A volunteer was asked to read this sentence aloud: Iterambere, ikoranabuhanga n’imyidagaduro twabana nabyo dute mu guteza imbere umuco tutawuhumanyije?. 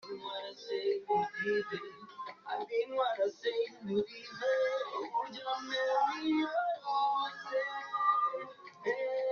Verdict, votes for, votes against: rejected, 0, 2